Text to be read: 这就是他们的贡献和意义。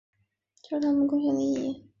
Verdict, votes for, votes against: accepted, 2, 0